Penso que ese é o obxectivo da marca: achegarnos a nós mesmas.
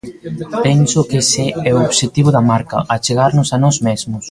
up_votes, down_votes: 0, 2